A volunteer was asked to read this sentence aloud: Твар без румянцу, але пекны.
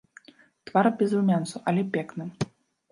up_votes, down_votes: 2, 0